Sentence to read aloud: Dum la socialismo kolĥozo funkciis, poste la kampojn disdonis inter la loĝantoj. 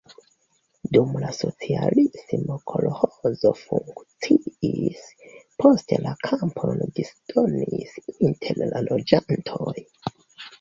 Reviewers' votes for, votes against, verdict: 2, 0, accepted